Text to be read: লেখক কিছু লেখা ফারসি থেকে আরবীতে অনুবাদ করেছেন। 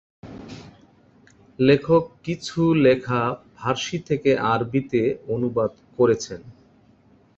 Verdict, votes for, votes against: accepted, 2, 0